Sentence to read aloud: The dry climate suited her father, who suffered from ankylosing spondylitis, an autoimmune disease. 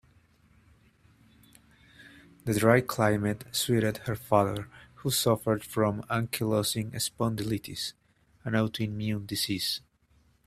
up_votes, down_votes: 2, 0